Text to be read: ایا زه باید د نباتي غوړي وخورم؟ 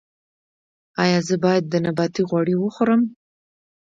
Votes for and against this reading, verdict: 2, 0, accepted